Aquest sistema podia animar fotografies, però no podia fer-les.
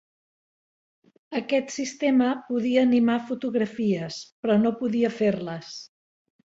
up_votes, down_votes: 3, 0